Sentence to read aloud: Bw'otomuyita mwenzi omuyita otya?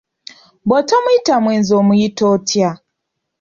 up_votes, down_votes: 2, 0